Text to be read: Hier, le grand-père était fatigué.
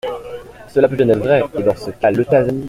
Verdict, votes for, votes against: rejected, 0, 2